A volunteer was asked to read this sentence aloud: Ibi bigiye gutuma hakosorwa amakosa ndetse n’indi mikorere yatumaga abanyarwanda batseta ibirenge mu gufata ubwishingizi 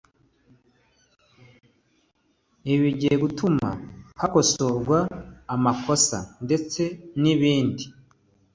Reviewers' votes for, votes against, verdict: 0, 2, rejected